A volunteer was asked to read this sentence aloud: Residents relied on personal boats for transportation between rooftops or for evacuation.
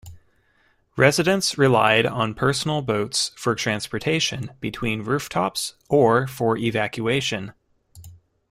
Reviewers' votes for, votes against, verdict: 7, 1, accepted